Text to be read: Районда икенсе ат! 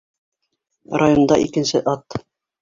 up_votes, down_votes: 3, 0